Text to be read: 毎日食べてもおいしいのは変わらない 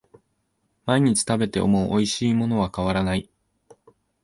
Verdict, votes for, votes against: rejected, 0, 2